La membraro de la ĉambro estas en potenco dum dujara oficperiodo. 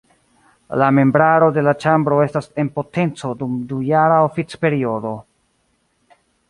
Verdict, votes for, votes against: accepted, 2, 0